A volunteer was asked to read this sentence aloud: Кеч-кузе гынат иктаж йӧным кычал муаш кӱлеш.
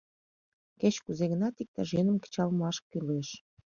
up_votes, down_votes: 2, 0